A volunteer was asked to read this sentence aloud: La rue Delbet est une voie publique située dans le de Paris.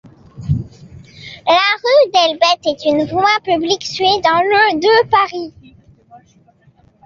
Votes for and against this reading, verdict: 1, 2, rejected